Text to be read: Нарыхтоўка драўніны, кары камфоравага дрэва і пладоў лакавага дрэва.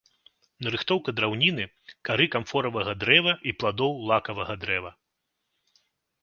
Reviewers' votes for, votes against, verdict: 2, 0, accepted